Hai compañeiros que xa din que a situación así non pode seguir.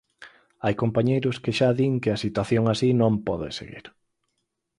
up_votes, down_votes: 4, 0